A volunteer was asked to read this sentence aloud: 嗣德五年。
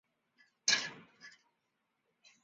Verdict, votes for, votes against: rejected, 1, 3